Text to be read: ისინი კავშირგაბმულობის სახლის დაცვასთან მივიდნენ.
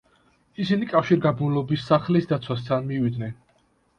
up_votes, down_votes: 2, 1